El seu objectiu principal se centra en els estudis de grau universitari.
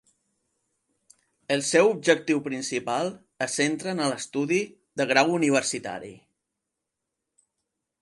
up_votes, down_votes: 2, 0